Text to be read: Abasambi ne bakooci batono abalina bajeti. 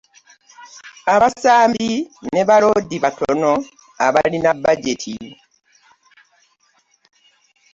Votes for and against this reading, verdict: 0, 2, rejected